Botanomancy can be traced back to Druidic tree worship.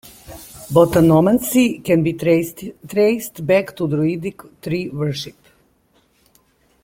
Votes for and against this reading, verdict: 1, 2, rejected